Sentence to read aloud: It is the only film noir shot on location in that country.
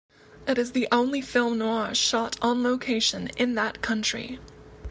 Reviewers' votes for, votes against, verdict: 2, 0, accepted